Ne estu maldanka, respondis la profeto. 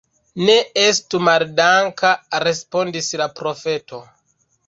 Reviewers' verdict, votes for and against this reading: accepted, 2, 0